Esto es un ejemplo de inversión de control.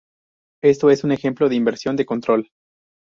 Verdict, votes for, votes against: accepted, 2, 0